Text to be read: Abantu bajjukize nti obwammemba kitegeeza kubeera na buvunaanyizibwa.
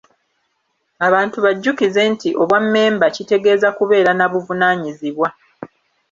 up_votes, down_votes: 2, 0